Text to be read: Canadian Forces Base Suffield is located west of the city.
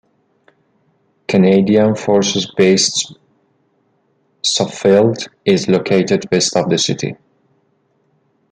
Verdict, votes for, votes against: rejected, 1, 2